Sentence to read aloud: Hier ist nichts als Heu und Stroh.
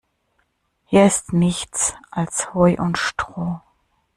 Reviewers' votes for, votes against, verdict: 2, 0, accepted